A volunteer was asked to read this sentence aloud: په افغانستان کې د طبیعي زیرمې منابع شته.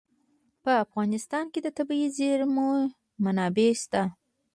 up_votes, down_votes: 1, 2